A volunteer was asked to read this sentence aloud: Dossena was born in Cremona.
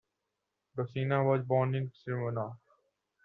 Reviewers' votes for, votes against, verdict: 1, 2, rejected